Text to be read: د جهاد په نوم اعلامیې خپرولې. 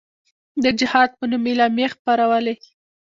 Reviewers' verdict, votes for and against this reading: accepted, 2, 0